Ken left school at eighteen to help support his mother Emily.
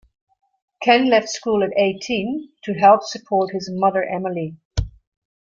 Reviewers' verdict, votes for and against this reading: accepted, 2, 0